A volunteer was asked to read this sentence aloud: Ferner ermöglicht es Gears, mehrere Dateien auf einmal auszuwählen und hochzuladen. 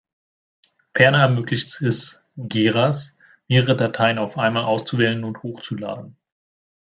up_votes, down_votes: 0, 2